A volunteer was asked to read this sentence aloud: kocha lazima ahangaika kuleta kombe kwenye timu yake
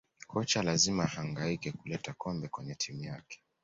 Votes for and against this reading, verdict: 2, 0, accepted